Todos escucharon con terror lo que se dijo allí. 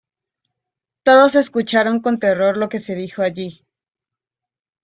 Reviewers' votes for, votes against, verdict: 2, 0, accepted